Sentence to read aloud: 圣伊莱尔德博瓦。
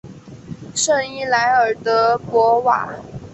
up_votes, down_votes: 2, 0